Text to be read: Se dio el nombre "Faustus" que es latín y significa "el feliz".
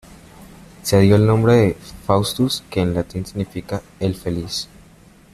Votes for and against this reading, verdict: 1, 2, rejected